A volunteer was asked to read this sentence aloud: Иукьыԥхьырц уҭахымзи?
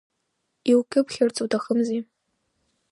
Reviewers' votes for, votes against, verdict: 1, 2, rejected